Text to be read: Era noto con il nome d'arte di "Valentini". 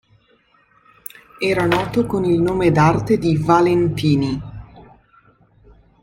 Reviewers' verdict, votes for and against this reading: accepted, 2, 0